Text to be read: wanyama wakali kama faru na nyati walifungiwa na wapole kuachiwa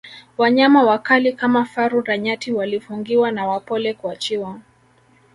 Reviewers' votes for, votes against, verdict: 2, 0, accepted